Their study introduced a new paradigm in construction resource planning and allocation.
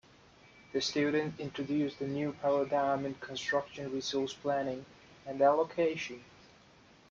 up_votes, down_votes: 1, 2